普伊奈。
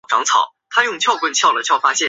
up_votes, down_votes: 1, 3